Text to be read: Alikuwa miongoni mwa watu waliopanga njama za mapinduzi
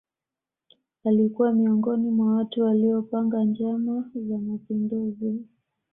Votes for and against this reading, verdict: 2, 0, accepted